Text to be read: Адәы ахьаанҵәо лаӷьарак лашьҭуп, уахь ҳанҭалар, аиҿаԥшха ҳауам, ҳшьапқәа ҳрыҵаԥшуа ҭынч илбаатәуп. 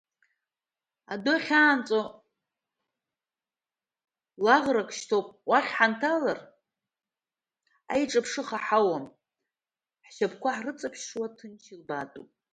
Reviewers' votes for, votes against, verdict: 0, 3, rejected